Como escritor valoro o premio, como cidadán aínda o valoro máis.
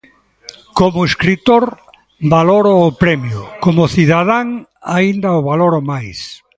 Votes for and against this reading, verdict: 0, 2, rejected